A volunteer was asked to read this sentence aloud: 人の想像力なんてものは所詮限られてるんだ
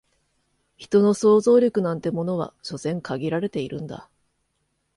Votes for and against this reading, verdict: 1, 2, rejected